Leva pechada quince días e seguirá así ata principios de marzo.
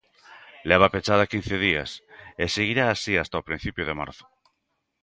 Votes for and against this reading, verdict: 0, 2, rejected